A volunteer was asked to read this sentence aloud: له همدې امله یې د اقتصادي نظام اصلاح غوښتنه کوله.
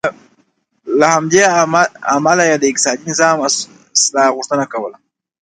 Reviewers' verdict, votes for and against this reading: rejected, 1, 2